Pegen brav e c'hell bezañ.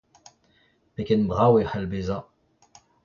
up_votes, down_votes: 2, 1